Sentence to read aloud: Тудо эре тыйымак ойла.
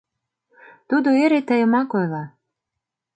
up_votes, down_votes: 2, 0